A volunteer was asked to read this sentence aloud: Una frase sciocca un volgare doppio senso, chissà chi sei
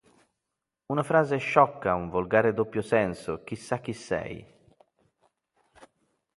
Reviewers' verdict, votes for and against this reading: accepted, 2, 0